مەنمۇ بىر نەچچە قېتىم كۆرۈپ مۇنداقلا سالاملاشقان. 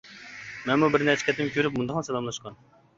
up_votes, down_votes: 2, 0